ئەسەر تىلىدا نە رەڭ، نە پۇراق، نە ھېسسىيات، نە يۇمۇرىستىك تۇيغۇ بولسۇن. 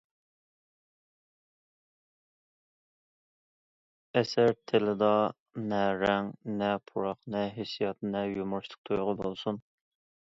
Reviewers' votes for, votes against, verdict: 2, 0, accepted